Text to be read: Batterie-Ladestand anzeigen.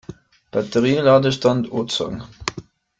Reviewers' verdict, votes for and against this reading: rejected, 1, 2